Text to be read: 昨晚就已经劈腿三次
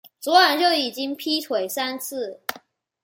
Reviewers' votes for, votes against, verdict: 2, 0, accepted